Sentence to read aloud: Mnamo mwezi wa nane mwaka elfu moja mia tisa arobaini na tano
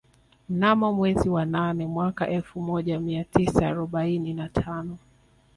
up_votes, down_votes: 2, 1